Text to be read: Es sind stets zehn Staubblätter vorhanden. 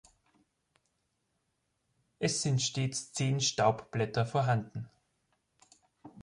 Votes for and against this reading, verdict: 2, 0, accepted